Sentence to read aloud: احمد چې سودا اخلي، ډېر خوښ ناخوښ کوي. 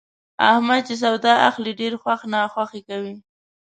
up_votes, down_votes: 2, 1